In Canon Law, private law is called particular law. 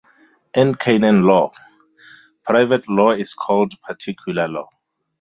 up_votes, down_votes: 0, 2